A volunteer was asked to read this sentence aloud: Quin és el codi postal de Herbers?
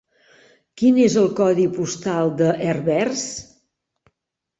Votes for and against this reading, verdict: 3, 0, accepted